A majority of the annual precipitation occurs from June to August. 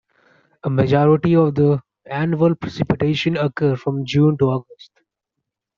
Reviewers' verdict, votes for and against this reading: accepted, 2, 0